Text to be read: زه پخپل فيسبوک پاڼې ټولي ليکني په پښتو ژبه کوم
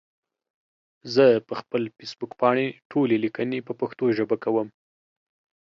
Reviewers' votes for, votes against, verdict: 2, 0, accepted